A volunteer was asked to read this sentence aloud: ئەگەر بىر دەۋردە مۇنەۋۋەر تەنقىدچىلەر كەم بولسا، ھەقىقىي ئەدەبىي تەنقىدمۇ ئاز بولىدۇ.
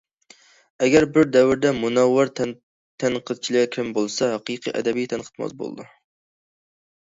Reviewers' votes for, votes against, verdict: 1, 2, rejected